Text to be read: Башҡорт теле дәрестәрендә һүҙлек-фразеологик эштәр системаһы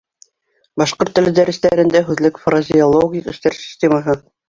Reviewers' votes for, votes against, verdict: 1, 2, rejected